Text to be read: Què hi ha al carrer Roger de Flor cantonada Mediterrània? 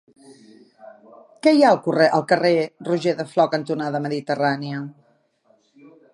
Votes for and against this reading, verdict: 0, 2, rejected